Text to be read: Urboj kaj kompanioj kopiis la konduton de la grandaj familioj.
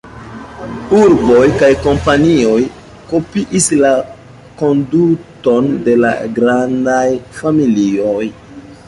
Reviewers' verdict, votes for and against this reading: accepted, 2, 1